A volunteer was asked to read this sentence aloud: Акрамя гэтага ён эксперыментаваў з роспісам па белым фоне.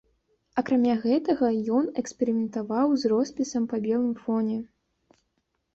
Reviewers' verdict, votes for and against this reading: accepted, 2, 0